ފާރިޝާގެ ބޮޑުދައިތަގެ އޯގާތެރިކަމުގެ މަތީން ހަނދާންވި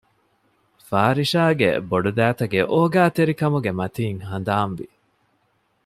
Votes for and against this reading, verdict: 2, 0, accepted